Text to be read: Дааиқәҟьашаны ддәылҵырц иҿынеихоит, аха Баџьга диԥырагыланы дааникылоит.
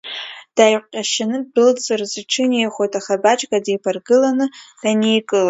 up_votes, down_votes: 2, 1